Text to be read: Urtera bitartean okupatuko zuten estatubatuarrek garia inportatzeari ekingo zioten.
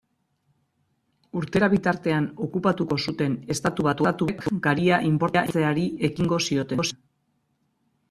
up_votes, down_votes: 0, 2